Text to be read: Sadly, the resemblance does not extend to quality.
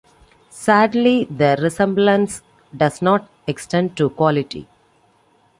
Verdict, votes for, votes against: accepted, 2, 0